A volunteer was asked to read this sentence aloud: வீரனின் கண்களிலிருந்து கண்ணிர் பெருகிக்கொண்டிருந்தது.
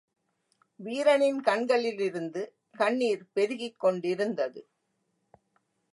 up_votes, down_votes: 0, 2